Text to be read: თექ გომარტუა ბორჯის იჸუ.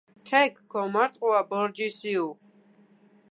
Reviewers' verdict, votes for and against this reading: rejected, 1, 2